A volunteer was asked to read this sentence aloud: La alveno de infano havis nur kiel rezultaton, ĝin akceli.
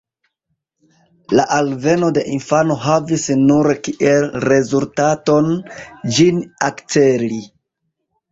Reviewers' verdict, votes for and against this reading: accepted, 2, 1